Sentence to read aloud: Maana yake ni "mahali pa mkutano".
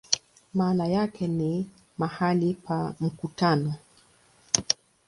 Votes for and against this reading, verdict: 3, 0, accepted